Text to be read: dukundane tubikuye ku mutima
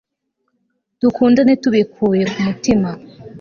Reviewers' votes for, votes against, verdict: 3, 0, accepted